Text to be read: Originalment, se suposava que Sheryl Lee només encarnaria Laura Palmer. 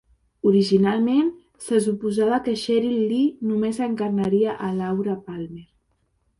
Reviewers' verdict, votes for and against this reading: rejected, 0, 2